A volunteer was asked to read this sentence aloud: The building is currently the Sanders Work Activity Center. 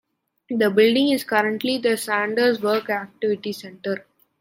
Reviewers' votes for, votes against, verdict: 2, 1, accepted